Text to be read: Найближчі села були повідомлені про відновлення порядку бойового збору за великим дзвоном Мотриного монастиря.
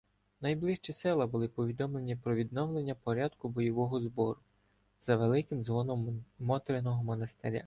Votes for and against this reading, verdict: 2, 0, accepted